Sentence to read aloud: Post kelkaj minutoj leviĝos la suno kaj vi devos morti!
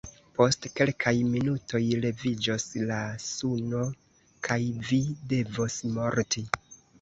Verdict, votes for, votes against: rejected, 1, 2